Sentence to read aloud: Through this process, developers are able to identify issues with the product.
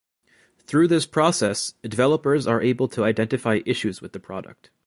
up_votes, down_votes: 2, 0